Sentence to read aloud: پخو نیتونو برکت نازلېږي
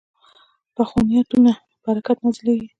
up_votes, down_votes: 2, 1